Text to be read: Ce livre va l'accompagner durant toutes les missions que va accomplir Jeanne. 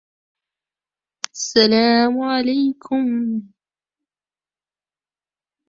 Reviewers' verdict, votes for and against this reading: rejected, 0, 2